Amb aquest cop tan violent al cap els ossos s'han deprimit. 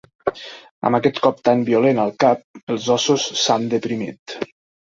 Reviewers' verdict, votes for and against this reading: accepted, 4, 0